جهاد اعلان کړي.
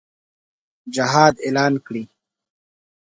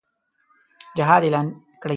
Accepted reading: first